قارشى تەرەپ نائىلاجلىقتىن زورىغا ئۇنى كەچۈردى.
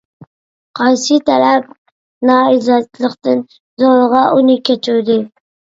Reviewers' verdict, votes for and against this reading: rejected, 0, 2